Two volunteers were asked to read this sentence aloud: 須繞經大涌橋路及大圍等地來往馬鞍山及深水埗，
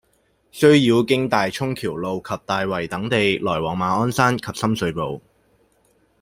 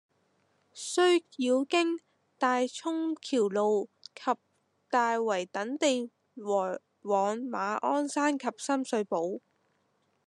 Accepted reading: first